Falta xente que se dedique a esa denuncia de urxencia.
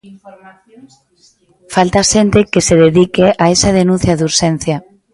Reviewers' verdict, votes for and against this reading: accepted, 2, 0